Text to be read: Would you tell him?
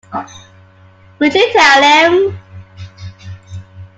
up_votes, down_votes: 2, 0